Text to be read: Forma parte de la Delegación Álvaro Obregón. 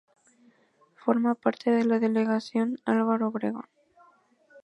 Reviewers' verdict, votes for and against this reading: accepted, 2, 0